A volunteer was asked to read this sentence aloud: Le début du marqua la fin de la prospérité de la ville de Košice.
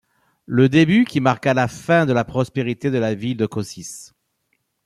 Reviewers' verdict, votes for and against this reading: rejected, 1, 2